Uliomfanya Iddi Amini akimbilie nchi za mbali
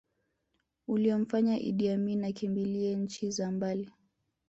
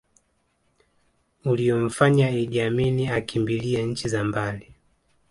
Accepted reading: first